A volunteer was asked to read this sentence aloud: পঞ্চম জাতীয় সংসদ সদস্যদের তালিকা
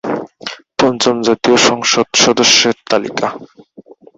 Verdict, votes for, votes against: rejected, 0, 2